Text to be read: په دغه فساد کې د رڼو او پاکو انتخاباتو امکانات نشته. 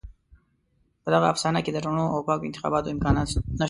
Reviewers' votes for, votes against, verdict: 0, 2, rejected